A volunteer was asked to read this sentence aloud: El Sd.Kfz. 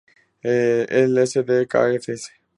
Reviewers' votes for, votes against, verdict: 2, 2, rejected